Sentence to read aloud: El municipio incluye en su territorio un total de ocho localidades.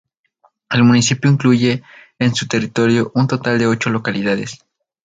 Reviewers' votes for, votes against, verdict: 0, 2, rejected